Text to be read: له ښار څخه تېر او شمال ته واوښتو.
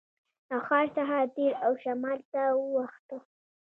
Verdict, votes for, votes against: accepted, 2, 0